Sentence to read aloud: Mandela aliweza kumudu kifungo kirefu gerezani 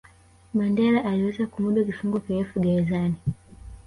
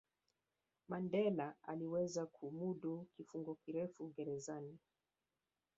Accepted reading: first